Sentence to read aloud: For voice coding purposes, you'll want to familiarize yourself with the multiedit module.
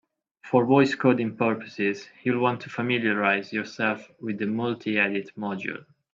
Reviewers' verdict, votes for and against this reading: accepted, 2, 0